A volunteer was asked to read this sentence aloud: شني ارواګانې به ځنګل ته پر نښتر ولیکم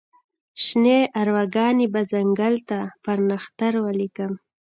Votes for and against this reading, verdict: 1, 2, rejected